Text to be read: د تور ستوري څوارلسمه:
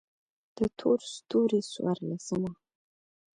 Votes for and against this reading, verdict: 2, 0, accepted